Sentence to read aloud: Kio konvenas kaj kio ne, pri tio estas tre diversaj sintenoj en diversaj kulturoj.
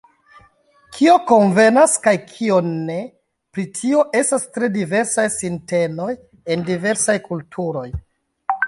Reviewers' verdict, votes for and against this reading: rejected, 1, 2